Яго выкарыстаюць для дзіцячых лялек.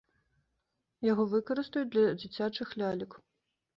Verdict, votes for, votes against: accepted, 2, 0